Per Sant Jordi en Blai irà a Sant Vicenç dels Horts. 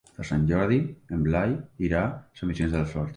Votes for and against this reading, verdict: 2, 0, accepted